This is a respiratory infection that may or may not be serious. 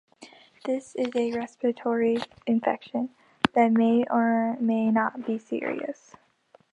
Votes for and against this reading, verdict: 2, 0, accepted